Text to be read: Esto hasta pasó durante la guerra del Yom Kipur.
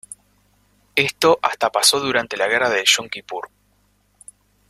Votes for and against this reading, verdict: 2, 0, accepted